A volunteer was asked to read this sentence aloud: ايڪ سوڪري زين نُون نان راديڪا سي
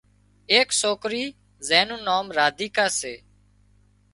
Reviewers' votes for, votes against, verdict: 2, 0, accepted